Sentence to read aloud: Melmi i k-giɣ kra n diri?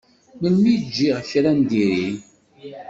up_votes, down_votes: 1, 2